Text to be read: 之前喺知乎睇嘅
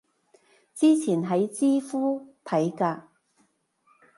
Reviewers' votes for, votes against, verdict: 1, 2, rejected